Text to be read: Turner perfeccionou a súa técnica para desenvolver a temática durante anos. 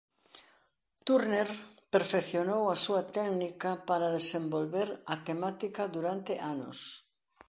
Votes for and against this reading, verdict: 2, 3, rejected